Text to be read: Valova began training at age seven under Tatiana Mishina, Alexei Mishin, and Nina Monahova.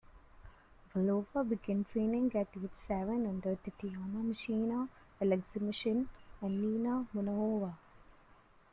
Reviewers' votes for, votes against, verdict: 0, 2, rejected